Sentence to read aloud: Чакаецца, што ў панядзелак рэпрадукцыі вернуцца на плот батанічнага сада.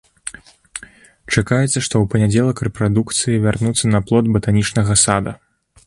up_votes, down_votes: 1, 3